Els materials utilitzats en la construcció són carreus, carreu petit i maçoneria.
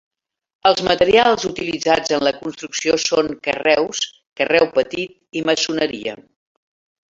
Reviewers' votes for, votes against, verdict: 1, 2, rejected